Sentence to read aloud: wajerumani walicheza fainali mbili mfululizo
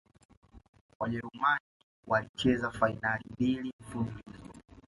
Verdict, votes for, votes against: rejected, 1, 2